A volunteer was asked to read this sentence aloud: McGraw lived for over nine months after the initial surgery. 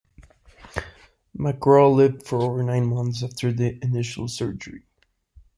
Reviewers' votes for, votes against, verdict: 1, 2, rejected